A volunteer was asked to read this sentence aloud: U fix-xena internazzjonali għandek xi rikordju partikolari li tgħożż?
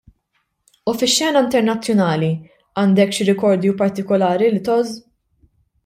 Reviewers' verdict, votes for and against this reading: rejected, 1, 2